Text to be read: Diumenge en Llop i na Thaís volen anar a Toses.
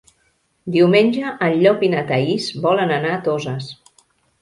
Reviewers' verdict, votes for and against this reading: accepted, 3, 0